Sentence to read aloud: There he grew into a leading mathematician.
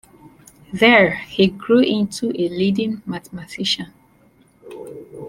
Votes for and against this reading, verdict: 2, 0, accepted